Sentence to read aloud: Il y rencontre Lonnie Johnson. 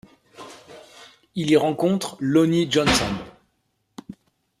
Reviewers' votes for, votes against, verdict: 2, 0, accepted